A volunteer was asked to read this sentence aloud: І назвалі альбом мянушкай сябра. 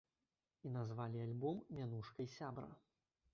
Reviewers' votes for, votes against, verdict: 0, 2, rejected